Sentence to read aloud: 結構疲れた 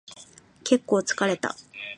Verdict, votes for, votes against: accepted, 2, 0